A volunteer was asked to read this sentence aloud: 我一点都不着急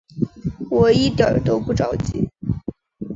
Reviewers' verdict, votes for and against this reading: accepted, 2, 0